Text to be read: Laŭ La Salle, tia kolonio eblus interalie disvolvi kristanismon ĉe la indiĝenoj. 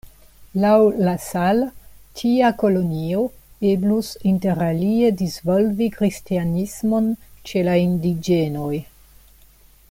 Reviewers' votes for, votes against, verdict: 1, 2, rejected